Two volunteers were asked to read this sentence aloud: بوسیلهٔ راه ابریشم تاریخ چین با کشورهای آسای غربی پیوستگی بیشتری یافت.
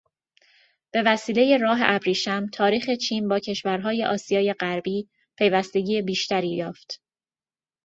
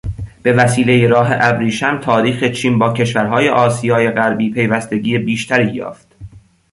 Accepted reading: second